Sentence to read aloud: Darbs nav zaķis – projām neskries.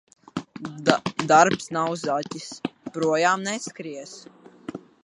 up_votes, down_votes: 0, 2